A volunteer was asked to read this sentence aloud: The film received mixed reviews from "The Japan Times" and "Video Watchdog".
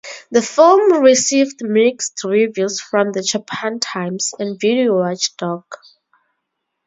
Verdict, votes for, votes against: accepted, 2, 0